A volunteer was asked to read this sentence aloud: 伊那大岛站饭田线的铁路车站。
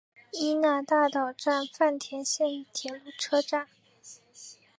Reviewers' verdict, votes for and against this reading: accepted, 2, 1